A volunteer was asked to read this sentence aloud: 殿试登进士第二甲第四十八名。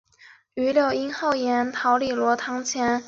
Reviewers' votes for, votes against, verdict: 0, 4, rejected